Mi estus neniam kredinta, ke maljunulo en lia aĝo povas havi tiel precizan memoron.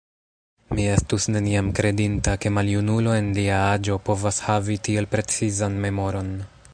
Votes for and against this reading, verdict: 1, 2, rejected